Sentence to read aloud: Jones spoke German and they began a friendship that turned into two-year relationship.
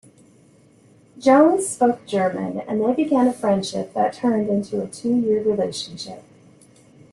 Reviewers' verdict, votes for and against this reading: accepted, 2, 0